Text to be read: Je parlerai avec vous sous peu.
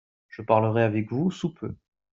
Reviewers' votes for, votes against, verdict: 2, 0, accepted